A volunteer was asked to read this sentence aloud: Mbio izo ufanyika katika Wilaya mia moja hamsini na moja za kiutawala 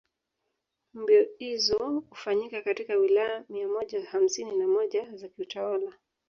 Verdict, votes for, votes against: rejected, 0, 2